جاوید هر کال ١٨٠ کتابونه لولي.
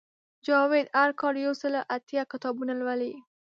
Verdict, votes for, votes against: rejected, 0, 2